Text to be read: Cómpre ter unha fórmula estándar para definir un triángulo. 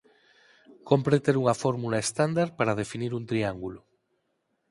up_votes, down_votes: 4, 0